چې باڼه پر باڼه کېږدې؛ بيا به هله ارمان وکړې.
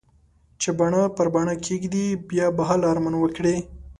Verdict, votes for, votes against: accepted, 3, 0